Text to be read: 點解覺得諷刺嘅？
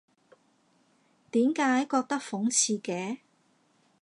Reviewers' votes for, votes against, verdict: 1, 2, rejected